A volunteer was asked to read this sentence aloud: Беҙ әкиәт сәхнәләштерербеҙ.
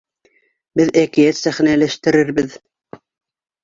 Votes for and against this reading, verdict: 2, 0, accepted